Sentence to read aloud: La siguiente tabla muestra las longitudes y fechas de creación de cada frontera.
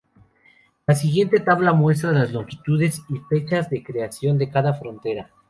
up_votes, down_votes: 2, 0